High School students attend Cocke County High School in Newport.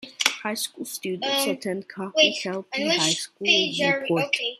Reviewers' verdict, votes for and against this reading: rejected, 0, 2